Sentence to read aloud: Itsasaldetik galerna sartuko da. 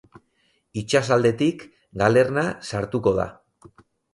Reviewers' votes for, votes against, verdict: 2, 2, rejected